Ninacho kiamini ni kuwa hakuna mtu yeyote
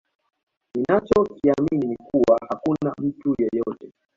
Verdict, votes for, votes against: accepted, 2, 1